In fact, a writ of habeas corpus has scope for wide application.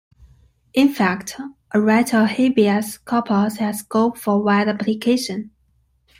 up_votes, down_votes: 0, 2